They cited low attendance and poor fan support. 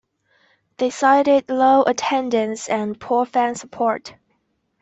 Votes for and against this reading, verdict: 2, 0, accepted